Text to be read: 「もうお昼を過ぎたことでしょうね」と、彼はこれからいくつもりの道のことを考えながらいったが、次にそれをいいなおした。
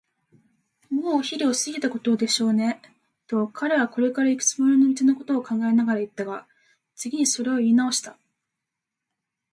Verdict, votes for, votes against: accepted, 2, 1